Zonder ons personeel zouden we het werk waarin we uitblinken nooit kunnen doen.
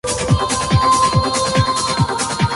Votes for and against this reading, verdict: 0, 2, rejected